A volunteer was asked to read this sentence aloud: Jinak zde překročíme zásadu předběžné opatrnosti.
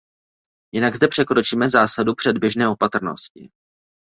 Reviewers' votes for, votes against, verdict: 2, 0, accepted